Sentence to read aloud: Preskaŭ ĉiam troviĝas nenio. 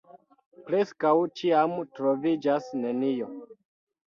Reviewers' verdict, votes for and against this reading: rejected, 1, 2